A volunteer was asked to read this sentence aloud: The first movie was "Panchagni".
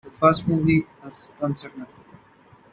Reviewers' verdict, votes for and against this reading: rejected, 0, 2